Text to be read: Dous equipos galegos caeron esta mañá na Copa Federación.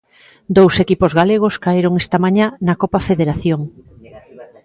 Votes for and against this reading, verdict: 2, 0, accepted